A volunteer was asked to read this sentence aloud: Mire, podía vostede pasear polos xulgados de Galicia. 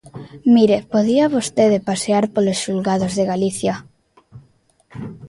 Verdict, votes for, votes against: accepted, 2, 0